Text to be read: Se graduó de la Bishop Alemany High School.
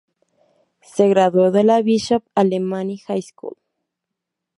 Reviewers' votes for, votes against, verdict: 0, 2, rejected